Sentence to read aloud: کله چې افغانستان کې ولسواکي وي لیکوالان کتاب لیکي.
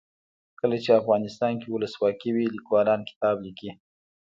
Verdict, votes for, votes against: rejected, 0, 2